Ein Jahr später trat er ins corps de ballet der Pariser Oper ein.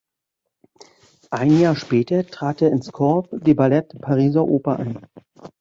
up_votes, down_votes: 0, 2